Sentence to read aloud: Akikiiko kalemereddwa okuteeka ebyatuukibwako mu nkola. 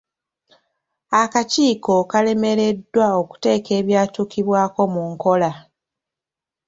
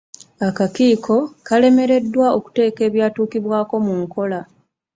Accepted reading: first